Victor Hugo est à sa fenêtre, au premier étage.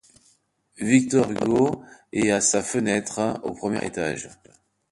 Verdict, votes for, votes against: accepted, 2, 1